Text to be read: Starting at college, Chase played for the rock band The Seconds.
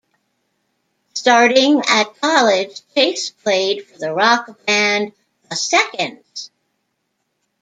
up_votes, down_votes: 2, 0